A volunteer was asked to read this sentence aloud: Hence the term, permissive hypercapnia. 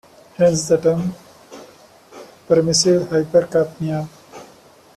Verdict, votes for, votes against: accepted, 2, 0